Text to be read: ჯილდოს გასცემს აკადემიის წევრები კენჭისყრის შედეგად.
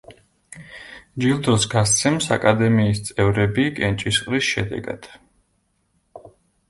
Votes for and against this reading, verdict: 2, 0, accepted